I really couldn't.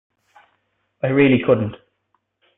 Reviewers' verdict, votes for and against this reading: accepted, 2, 0